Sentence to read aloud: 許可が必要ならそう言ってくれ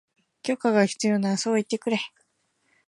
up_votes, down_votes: 5, 1